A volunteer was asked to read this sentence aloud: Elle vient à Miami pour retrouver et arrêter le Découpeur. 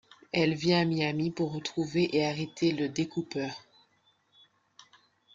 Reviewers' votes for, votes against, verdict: 2, 0, accepted